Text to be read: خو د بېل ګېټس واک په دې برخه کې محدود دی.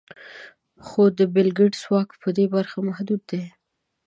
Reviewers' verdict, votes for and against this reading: accepted, 2, 0